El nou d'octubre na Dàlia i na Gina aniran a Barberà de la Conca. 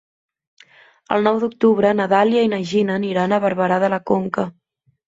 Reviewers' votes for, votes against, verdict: 3, 0, accepted